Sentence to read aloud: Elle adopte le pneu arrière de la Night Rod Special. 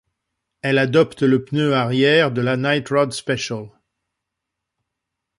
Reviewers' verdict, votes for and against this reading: accepted, 2, 0